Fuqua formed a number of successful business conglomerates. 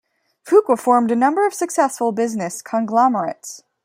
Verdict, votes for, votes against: rejected, 2, 3